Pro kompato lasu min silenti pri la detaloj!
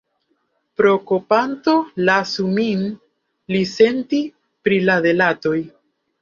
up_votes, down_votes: 0, 2